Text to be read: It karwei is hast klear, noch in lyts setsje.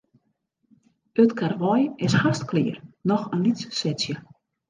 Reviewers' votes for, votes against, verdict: 2, 0, accepted